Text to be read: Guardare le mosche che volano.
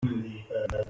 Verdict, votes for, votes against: rejected, 0, 2